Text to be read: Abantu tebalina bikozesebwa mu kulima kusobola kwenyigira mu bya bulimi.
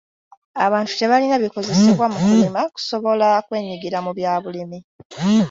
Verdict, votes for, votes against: accepted, 2, 0